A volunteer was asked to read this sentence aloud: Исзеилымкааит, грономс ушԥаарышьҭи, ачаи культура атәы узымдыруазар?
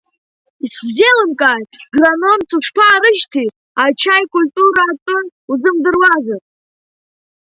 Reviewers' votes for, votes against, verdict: 2, 0, accepted